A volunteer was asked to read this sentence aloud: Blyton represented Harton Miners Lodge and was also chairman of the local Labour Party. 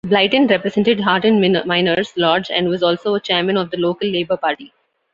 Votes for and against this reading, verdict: 1, 2, rejected